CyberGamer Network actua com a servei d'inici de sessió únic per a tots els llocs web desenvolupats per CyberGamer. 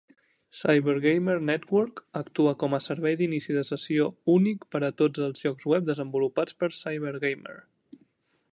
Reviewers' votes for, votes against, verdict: 3, 0, accepted